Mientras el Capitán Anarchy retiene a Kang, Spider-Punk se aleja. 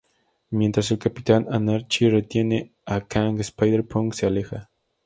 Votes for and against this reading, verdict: 2, 0, accepted